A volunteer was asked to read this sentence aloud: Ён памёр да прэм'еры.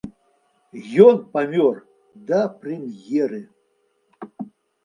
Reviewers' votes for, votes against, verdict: 2, 0, accepted